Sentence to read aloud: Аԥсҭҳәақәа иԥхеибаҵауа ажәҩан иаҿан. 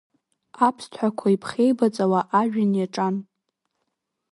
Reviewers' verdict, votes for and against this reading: accepted, 2, 1